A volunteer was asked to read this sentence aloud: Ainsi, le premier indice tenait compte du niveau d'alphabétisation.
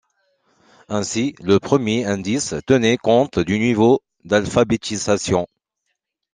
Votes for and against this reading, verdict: 2, 0, accepted